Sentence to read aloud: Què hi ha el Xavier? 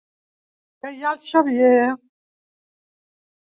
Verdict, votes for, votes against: accepted, 3, 1